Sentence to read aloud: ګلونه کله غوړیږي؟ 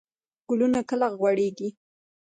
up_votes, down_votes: 1, 2